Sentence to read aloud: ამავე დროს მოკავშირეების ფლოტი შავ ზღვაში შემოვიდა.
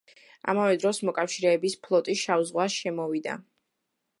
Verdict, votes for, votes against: accepted, 2, 1